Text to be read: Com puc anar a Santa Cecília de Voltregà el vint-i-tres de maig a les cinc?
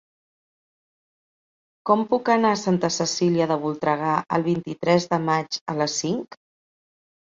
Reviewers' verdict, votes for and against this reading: accepted, 6, 0